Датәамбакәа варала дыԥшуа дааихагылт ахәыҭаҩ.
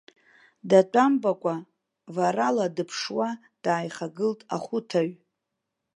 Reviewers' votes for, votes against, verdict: 2, 3, rejected